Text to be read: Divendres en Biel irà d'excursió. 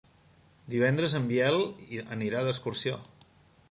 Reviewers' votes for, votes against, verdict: 1, 3, rejected